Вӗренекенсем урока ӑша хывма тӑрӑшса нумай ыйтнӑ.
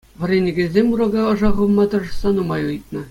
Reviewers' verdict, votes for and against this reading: accepted, 2, 0